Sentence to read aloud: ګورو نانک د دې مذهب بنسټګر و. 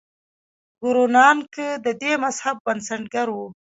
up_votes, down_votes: 2, 1